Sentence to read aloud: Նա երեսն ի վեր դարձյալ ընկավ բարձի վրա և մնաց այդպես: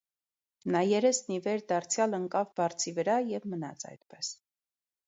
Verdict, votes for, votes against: accepted, 2, 0